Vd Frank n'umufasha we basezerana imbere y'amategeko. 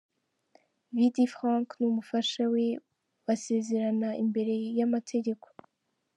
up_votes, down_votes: 2, 0